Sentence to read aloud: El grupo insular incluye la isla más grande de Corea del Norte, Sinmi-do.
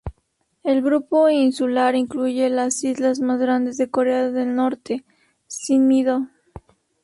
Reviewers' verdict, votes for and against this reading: rejected, 0, 2